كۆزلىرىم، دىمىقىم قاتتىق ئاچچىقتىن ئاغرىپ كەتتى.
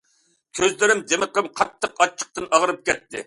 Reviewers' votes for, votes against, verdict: 2, 0, accepted